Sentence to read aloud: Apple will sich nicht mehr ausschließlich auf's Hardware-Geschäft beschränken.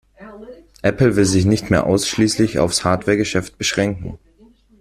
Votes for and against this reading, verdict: 2, 1, accepted